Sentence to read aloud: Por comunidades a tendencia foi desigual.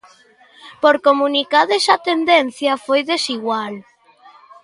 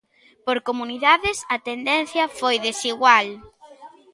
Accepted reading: second